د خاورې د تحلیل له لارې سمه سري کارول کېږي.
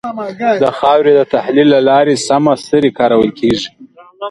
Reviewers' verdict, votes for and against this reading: rejected, 0, 2